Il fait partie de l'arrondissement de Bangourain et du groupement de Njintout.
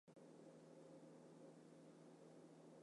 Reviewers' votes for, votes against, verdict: 1, 2, rejected